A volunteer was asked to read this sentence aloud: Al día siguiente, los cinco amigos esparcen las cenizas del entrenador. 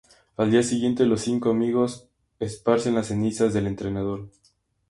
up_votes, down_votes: 2, 0